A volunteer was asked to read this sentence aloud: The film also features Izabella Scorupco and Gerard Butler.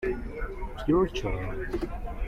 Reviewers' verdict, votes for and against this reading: rejected, 0, 2